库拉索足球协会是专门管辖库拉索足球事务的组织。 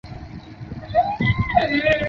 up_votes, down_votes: 0, 2